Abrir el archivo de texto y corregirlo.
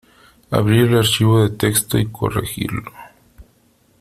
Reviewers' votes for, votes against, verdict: 2, 0, accepted